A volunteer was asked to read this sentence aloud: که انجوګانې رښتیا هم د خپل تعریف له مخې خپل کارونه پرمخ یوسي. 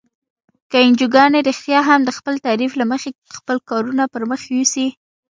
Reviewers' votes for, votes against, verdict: 2, 0, accepted